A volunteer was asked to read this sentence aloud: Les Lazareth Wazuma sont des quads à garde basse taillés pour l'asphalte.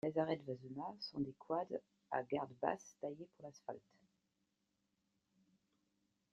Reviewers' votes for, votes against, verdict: 0, 2, rejected